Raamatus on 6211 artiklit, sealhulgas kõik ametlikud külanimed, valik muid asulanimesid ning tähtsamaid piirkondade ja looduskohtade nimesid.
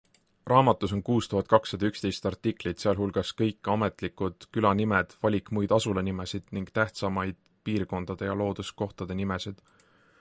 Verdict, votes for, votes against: rejected, 0, 2